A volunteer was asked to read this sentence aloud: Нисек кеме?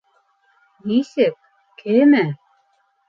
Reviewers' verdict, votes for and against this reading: accepted, 2, 1